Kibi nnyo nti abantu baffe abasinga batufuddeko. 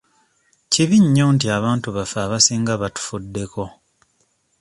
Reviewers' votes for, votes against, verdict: 1, 2, rejected